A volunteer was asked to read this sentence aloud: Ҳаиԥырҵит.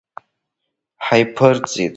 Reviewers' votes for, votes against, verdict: 3, 1, accepted